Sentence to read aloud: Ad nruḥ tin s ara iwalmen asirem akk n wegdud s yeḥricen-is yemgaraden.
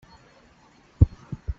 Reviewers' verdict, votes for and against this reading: rejected, 1, 2